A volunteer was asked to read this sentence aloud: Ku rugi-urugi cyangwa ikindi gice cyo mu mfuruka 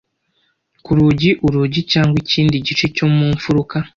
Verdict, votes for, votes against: accepted, 2, 0